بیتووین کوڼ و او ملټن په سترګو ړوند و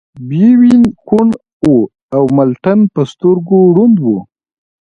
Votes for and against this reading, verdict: 0, 2, rejected